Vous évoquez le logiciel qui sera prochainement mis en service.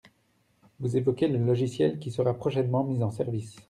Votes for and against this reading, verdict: 2, 0, accepted